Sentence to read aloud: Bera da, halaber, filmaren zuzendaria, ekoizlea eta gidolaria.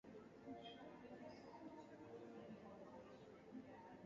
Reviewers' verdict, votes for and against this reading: rejected, 0, 4